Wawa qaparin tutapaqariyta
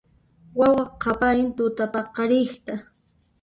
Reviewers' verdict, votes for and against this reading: rejected, 0, 2